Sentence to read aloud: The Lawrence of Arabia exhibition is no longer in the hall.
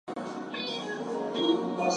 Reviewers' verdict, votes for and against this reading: rejected, 0, 4